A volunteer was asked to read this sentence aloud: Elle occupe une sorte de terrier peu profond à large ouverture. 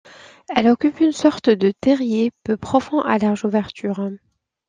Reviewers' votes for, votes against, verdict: 2, 0, accepted